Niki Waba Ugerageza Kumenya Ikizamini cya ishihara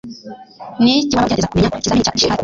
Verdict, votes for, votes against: rejected, 1, 2